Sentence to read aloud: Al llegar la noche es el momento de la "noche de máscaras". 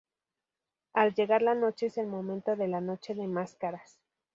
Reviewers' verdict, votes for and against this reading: rejected, 0, 2